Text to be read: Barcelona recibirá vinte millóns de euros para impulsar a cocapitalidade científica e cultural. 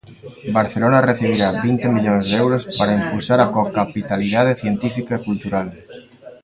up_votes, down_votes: 1, 2